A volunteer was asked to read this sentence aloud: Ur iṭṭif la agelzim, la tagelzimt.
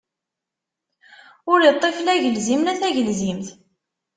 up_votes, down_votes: 2, 0